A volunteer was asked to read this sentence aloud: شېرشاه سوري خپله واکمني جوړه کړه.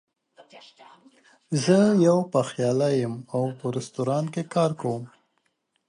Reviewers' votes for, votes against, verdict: 1, 2, rejected